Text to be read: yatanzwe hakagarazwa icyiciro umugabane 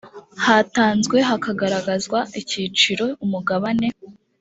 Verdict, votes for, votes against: rejected, 0, 2